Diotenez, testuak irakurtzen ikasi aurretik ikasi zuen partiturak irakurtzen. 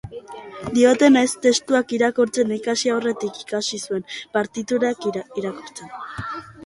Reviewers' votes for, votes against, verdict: 2, 0, accepted